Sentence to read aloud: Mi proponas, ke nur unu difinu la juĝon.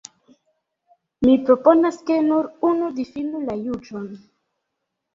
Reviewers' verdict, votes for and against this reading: rejected, 1, 2